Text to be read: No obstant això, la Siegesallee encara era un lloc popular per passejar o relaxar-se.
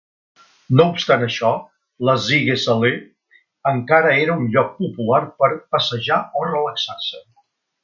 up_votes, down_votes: 2, 0